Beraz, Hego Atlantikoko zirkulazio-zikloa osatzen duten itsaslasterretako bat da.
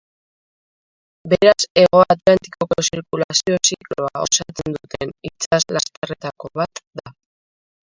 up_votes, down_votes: 0, 2